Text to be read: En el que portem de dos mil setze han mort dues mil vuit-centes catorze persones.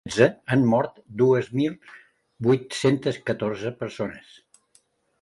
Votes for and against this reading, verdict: 0, 2, rejected